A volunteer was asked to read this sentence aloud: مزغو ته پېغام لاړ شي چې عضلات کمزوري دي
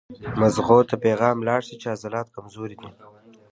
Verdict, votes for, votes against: rejected, 0, 2